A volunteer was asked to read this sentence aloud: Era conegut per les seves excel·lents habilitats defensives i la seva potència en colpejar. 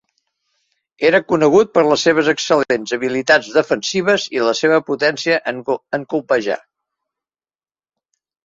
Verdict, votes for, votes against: rejected, 0, 2